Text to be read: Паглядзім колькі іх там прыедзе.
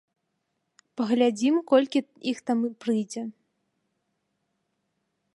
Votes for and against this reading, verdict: 0, 2, rejected